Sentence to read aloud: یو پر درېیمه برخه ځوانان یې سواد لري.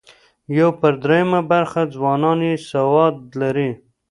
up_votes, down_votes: 2, 0